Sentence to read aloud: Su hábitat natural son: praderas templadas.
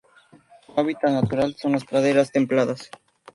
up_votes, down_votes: 0, 2